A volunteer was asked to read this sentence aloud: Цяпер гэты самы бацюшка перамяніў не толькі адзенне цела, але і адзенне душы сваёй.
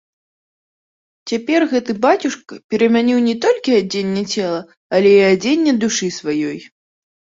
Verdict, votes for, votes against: rejected, 0, 2